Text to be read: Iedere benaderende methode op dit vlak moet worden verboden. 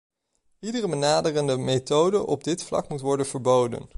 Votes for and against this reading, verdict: 2, 0, accepted